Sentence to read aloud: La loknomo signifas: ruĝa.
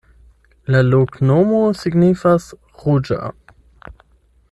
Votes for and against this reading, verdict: 8, 0, accepted